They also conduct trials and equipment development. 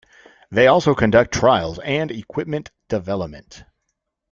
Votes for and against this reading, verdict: 2, 0, accepted